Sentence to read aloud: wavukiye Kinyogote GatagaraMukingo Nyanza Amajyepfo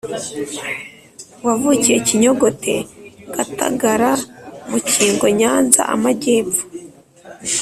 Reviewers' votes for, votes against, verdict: 3, 0, accepted